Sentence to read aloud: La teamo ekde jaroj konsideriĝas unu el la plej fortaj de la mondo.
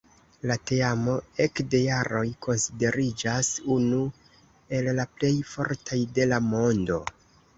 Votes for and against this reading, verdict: 2, 0, accepted